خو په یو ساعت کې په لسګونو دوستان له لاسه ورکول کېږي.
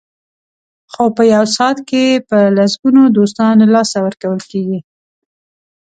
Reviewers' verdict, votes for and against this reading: accepted, 2, 0